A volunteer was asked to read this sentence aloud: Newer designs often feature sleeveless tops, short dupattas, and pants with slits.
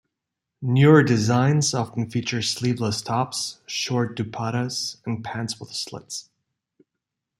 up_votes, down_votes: 2, 0